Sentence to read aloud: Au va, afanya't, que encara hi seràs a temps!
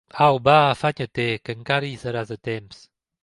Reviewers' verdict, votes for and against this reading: rejected, 0, 2